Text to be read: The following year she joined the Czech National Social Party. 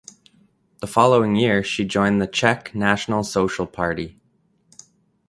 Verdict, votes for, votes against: accepted, 2, 0